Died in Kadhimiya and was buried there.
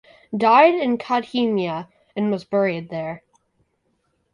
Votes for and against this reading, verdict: 4, 0, accepted